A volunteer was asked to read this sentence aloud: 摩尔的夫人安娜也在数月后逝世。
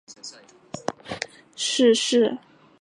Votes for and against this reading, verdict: 0, 3, rejected